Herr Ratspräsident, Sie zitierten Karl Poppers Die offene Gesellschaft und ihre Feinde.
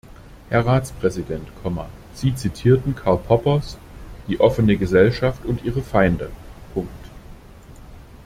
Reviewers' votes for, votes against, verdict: 0, 2, rejected